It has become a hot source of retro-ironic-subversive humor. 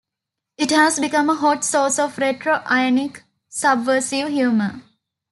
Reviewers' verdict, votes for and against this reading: accepted, 2, 0